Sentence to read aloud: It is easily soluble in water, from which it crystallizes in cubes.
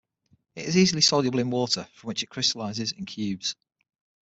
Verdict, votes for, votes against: accepted, 6, 0